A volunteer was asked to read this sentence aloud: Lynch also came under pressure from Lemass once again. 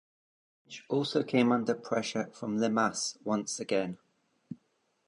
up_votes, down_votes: 1, 2